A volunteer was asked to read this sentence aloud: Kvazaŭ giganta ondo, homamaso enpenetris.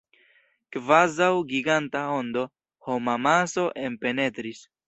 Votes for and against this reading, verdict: 2, 0, accepted